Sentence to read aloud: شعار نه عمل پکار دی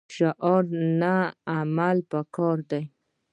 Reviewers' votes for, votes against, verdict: 1, 2, rejected